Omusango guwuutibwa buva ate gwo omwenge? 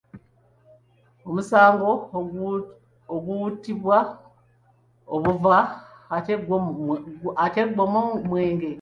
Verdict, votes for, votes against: rejected, 0, 2